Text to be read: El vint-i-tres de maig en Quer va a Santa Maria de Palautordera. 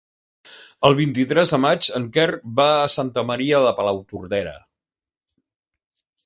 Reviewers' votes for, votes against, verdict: 2, 0, accepted